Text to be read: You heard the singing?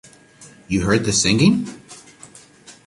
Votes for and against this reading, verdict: 2, 0, accepted